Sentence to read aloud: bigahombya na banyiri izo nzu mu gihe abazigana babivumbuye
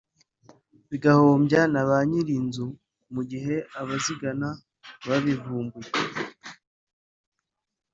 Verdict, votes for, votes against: rejected, 0, 2